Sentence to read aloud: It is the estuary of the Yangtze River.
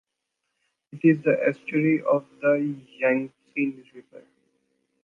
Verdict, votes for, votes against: rejected, 1, 2